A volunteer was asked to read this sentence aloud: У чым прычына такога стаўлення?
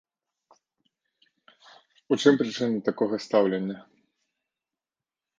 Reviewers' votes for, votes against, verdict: 2, 0, accepted